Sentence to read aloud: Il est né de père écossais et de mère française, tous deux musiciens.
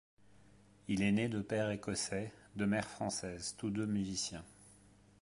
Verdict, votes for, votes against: rejected, 1, 2